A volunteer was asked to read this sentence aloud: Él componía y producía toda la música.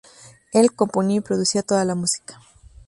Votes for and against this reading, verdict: 2, 0, accepted